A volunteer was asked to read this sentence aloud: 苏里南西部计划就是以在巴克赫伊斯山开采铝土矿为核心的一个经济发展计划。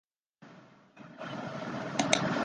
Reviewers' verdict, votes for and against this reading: rejected, 0, 2